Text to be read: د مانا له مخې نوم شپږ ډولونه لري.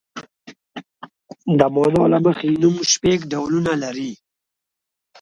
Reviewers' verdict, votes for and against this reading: rejected, 1, 2